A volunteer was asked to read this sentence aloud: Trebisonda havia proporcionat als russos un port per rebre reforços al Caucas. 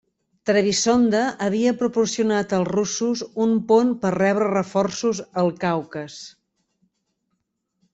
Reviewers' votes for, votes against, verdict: 1, 2, rejected